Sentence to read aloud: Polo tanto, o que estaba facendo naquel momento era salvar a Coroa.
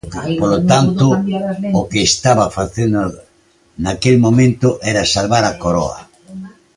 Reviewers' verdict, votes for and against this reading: rejected, 1, 2